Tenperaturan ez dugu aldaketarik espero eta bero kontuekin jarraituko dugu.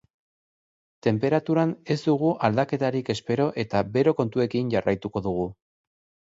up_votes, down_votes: 2, 0